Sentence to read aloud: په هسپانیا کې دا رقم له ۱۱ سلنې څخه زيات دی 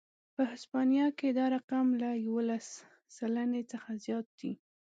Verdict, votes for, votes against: rejected, 0, 2